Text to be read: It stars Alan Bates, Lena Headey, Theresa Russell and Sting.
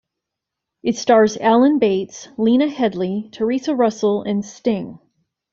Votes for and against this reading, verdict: 1, 2, rejected